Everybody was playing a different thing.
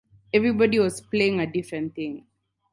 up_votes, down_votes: 4, 0